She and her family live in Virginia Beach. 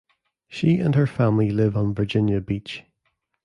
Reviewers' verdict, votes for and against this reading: rejected, 1, 2